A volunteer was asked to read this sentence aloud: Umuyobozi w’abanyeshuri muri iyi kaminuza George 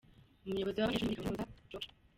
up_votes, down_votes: 0, 2